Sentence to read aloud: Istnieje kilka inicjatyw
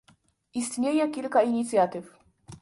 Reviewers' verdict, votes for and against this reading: accepted, 2, 0